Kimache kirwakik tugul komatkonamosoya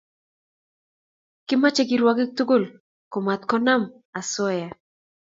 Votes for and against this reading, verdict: 2, 0, accepted